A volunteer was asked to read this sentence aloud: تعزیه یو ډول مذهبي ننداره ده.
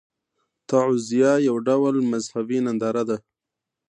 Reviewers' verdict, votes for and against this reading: accepted, 2, 0